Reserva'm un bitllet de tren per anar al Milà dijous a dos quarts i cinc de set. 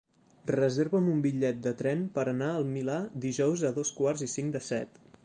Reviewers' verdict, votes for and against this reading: accepted, 3, 0